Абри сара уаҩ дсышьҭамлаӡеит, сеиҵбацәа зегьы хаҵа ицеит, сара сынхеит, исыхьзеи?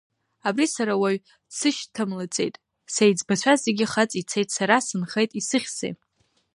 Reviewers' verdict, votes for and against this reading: accepted, 2, 0